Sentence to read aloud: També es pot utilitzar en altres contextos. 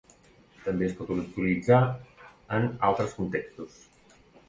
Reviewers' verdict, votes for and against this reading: rejected, 0, 2